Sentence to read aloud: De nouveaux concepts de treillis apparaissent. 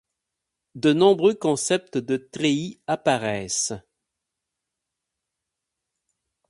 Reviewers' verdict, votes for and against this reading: rejected, 0, 4